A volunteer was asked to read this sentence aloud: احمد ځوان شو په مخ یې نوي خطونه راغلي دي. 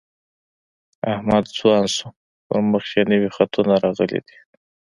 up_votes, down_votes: 2, 0